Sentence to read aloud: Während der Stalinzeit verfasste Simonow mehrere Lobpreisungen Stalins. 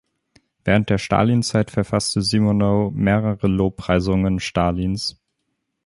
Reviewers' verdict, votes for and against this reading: accepted, 2, 0